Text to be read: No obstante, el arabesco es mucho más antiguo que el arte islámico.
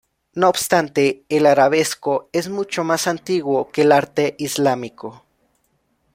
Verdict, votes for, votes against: accepted, 2, 0